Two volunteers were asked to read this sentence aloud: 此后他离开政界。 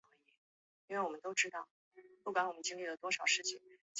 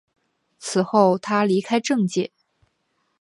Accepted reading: second